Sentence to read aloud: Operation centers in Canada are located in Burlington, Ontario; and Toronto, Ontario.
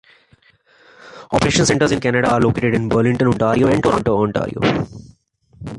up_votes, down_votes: 1, 2